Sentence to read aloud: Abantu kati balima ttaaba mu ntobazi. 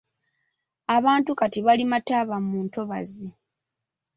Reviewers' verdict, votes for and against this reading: accepted, 2, 0